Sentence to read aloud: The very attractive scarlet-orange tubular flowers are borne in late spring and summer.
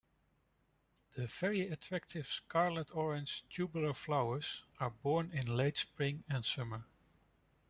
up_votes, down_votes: 2, 0